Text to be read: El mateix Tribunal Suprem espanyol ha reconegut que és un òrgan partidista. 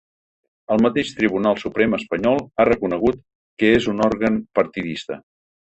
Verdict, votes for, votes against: accepted, 2, 1